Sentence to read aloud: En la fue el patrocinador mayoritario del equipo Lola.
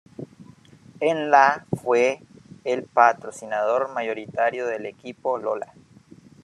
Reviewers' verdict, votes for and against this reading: accepted, 2, 0